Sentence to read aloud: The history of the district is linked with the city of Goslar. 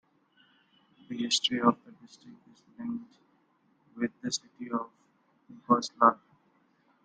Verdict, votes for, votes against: rejected, 0, 2